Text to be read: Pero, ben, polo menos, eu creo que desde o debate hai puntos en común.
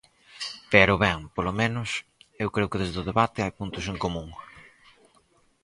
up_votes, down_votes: 4, 0